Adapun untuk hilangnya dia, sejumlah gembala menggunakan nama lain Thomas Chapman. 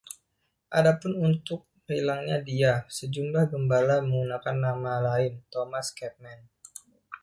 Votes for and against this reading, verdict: 1, 2, rejected